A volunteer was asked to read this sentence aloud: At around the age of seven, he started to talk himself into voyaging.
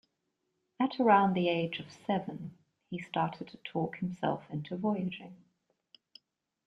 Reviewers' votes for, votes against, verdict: 1, 2, rejected